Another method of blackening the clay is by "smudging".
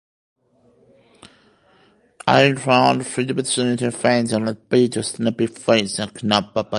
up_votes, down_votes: 0, 2